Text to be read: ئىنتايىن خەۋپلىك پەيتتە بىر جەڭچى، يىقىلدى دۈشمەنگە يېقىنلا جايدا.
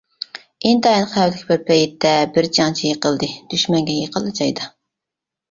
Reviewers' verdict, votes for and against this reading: rejected, 1, 2